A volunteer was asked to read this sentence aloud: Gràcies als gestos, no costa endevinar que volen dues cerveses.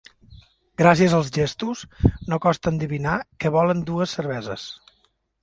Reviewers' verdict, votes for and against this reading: accepted, 2, 1